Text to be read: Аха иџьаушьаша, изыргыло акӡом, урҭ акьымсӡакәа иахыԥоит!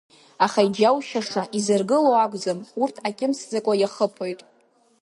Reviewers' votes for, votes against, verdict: 2, 0, accepted